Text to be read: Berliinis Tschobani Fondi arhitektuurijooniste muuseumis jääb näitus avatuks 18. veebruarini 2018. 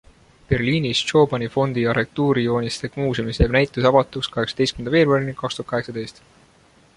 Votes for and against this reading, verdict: 0, 2, rejected